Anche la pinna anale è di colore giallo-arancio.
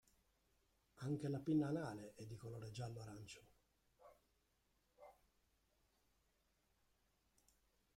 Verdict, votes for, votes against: rejected, 2, 3